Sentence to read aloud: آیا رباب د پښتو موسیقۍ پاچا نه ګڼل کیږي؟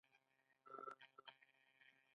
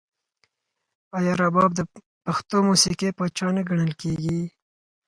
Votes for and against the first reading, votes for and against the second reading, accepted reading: 1, 2, 4, 0, second